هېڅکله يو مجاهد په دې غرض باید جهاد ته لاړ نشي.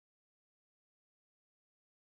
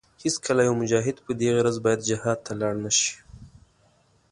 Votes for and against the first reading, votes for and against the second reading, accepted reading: 1, 2, 2, 0, second